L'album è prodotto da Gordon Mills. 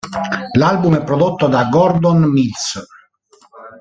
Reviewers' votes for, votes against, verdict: 2, 3, rejected